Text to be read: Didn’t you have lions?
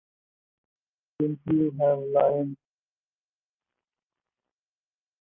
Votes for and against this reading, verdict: 0, 4, rejected